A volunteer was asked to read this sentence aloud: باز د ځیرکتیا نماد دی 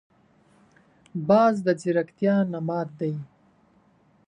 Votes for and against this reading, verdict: 2, 0, accepted